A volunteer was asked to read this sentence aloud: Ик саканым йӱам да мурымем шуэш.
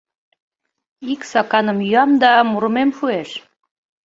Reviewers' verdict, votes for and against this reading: accepted, 2, 0